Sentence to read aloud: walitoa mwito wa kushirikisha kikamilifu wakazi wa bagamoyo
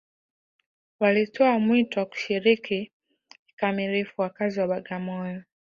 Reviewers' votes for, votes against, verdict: 3, 0, accepted